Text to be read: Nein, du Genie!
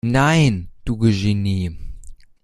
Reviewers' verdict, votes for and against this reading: rejected, 0, 2